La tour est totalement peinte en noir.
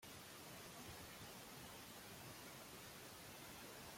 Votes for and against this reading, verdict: 0, 2, rejected